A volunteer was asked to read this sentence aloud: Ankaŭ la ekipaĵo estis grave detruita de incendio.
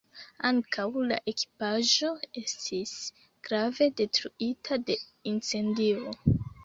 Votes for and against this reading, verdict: 2, 1, accepted